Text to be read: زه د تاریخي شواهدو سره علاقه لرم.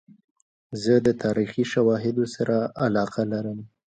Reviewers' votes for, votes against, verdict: 0, 2, rejected